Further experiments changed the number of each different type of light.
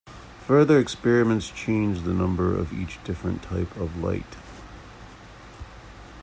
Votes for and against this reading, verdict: 2, 0, accepted